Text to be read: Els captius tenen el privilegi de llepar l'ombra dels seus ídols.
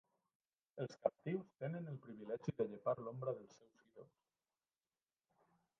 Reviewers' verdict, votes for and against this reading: rejected, 0, 2